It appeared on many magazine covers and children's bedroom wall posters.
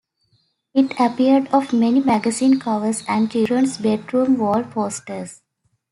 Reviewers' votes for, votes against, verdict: 1, 2, rejected